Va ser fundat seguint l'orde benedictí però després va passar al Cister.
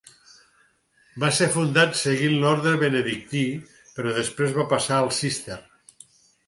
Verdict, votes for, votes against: accepted, 4, 0